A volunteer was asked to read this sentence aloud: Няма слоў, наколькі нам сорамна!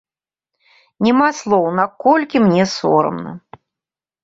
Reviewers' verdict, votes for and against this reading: rejected, 0, 2